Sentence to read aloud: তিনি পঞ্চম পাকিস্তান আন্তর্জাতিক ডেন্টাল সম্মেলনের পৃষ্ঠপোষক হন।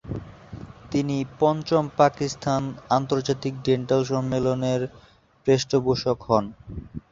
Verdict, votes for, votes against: accepted, 2, 0